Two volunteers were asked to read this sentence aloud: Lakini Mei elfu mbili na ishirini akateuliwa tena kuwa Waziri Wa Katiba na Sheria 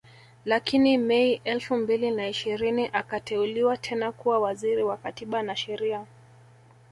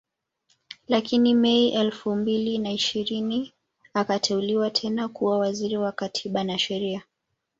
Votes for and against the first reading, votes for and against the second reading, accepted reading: 1, 2, 2, 0, second